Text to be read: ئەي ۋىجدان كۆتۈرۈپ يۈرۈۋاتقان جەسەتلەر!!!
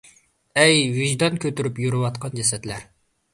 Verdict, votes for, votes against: accepted, 2, 0